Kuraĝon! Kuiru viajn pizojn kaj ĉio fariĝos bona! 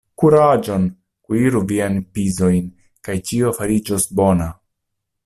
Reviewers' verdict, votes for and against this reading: accepted, 2, 0